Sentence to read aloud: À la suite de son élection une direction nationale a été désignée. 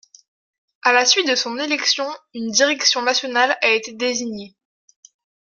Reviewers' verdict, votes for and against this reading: accepted, 2, 0